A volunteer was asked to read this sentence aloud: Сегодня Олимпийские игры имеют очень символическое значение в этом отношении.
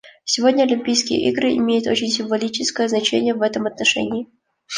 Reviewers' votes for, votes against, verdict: 2, 0, accepted